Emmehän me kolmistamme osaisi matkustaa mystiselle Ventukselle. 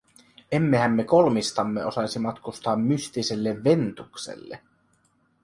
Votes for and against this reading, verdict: 2, 0, accepted